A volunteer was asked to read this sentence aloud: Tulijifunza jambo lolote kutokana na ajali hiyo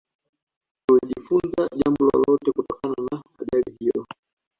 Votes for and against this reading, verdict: 0, 2, rejected